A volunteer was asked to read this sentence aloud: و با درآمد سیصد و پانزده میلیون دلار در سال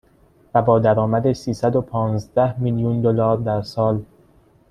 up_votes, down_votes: 2, 0